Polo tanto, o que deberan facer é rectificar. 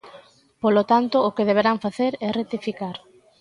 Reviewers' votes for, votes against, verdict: 1, 2, rejected